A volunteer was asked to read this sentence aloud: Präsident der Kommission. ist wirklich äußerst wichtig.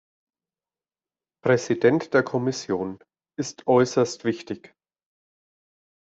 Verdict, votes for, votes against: rejected, 1, 2